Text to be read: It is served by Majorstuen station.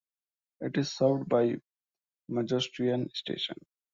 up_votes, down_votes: 0, 2